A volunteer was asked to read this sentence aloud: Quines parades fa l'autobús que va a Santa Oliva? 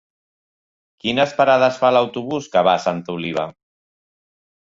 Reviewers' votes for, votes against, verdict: 3, 0, accepted